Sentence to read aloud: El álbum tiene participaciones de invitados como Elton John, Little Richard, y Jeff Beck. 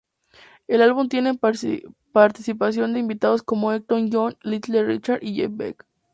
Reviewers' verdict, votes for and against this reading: rejected, 0, 2